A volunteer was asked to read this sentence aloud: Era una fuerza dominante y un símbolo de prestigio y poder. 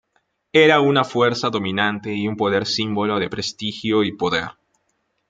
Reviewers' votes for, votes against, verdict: 0, 2, rejected